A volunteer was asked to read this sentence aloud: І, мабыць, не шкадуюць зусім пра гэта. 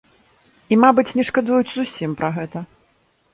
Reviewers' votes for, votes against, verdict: 2, 0, accepted